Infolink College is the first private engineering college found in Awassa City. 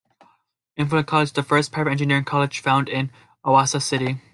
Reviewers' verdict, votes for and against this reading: rejected, 0, 2